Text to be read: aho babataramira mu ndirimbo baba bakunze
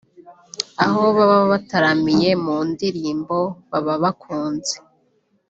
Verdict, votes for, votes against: rejected, 1, 2